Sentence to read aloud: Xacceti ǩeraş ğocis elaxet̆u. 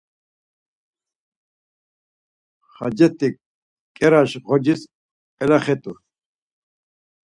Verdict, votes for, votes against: accepted, 4, 0